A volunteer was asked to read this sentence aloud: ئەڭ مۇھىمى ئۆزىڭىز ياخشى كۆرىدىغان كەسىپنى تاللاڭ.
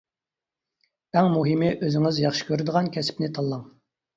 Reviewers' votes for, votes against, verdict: 3, 0, accepted